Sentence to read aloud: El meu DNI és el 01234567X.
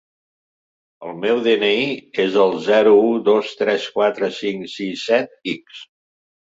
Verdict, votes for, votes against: rejected, 0, 2